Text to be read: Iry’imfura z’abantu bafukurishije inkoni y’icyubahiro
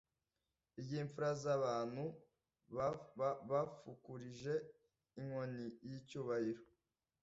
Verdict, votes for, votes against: rejected, 1, 2